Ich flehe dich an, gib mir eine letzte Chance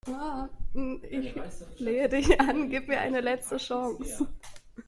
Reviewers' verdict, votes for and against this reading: rejected, 0, 2